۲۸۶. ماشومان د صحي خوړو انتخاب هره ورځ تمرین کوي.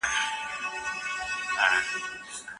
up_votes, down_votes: 0, 2